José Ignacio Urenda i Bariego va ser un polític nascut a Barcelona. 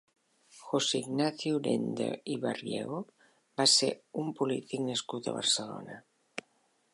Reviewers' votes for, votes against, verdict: 2, 0, accepted